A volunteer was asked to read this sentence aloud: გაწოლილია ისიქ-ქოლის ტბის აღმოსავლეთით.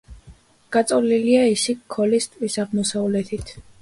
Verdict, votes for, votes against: accepted, 2, 0